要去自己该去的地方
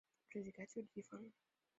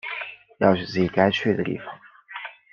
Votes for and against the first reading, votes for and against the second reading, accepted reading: 0, 2, 2, 0, second